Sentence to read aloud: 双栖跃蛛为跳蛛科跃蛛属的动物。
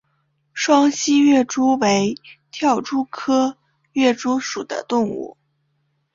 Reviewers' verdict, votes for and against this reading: accepted, 2, 0